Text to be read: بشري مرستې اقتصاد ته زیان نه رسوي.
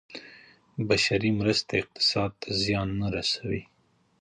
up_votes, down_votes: 2, 1